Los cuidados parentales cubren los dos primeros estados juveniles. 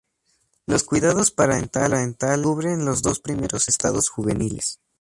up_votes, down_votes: 0, 2